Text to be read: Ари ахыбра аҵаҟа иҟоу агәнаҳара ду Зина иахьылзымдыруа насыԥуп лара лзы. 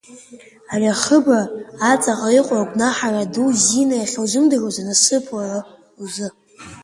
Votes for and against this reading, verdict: 1, 2, rejected